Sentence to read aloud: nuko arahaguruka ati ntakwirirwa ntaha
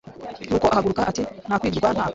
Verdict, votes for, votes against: rejected, 1, 2